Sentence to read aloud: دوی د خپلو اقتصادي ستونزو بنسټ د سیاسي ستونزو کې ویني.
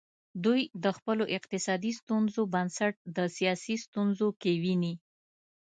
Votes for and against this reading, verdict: 2, 0, accepted